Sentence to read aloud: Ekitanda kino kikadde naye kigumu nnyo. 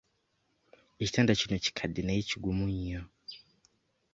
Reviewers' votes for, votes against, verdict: 2, 0, accepted